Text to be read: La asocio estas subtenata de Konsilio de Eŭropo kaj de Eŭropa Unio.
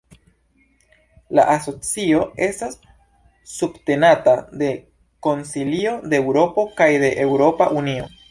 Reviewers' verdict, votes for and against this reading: accepted, 2, 0